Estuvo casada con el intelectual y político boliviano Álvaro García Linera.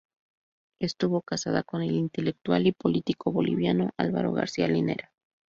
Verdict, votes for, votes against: accepted, 2, 0